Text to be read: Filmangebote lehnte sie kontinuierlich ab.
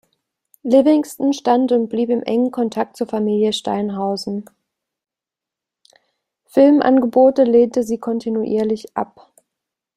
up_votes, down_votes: 0, 2